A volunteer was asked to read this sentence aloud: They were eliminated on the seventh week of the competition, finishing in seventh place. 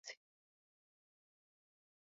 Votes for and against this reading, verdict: 0, 2, rejected